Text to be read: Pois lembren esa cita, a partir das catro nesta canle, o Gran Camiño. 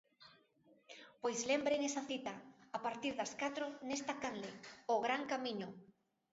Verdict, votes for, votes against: rejected, 0, 2